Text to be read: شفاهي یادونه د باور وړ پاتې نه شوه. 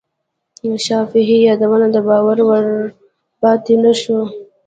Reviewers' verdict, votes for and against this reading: accepted, 2, 1